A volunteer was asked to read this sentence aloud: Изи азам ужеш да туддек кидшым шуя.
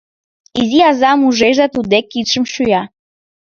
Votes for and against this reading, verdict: 1, 2, rejected